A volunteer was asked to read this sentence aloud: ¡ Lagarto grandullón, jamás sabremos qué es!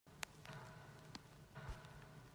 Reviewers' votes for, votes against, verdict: 0, 2, rejected